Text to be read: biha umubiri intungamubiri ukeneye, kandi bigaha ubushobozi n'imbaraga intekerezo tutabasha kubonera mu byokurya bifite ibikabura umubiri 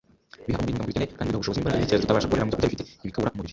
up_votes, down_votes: 0, 2